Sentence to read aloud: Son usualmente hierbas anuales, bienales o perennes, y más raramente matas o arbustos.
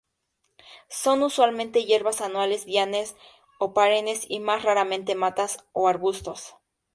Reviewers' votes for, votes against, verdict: 0, 2, rejected